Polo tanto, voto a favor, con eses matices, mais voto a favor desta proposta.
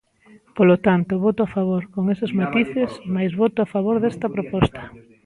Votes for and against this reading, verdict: 1, 2, rejected